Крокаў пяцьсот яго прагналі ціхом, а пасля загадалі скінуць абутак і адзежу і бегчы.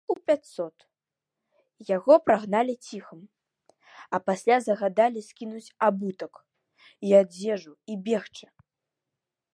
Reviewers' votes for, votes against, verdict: 0, 2, rejected